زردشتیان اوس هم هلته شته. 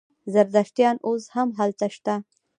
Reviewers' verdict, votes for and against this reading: accepted, 2, 0